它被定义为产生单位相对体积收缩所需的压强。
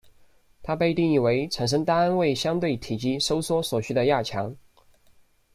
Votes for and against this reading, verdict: 1, 2, rejected